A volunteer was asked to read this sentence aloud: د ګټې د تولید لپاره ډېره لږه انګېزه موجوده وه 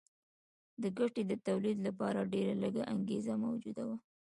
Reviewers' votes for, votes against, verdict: 0, 2, rejected